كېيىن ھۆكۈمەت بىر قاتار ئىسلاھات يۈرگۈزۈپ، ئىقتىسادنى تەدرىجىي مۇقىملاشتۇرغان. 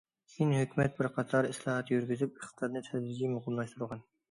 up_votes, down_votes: 0, 2